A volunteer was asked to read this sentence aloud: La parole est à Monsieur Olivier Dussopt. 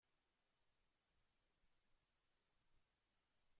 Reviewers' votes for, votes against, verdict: 0, 2, rejected